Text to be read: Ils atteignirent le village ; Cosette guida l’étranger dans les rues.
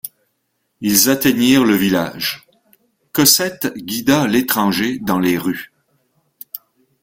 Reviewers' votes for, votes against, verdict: 1, 2, rejected